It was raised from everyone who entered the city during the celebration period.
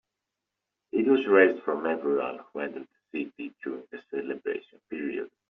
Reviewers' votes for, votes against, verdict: 1, 2, rejected